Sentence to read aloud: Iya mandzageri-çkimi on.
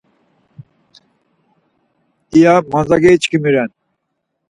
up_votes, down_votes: 2, 4